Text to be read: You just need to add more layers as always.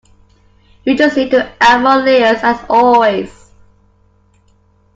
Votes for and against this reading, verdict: 2, 1, accepted